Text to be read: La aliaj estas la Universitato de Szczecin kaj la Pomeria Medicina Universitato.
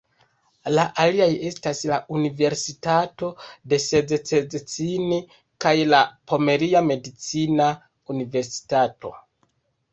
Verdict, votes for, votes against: rejected, 0, 2